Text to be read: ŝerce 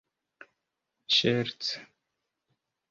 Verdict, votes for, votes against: rejected, 0, 2